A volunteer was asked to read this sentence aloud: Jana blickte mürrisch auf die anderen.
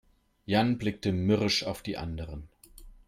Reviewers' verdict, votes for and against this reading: rejected, 0, 3